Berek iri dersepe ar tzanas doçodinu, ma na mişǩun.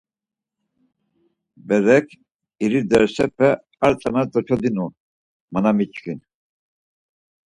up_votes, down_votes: 2, 4